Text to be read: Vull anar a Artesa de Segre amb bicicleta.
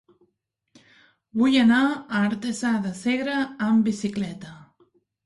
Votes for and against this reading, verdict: 2, 0, accepted